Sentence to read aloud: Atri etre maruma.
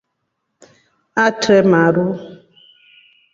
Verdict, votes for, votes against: rejected, 1, 3